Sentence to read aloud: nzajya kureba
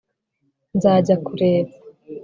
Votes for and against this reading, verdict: 3, 0, accepted